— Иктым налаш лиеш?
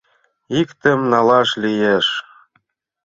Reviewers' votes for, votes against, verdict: 2, 1, accepted